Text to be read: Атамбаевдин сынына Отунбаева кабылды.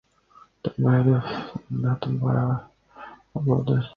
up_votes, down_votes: 0, 2